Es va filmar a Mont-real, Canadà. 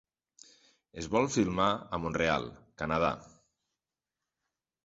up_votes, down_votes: 0, 2